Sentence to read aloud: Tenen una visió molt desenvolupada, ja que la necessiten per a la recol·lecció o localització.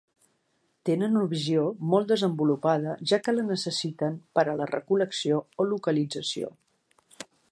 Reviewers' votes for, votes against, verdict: 1, 2, rejected